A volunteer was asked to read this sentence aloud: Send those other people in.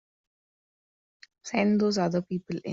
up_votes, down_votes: 0, 2